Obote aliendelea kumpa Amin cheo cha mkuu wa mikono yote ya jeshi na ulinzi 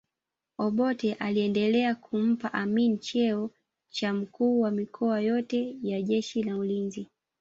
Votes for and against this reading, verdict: 1, 2, rejected